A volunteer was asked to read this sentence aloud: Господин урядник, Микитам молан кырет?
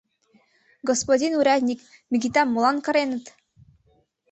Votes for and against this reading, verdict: 1, 2, rejected